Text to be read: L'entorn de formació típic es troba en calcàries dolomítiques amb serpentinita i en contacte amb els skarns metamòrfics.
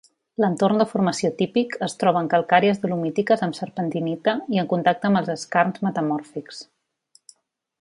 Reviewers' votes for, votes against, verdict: 3, 0, accepted